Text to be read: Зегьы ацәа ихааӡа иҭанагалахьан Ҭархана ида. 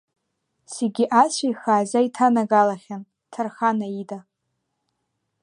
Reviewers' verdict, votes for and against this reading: accepted, 2, 0